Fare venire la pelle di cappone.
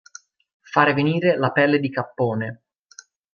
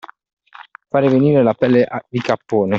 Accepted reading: first